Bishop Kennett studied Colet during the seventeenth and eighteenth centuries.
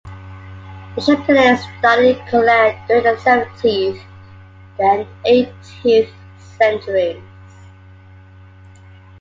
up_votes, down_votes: 2, 1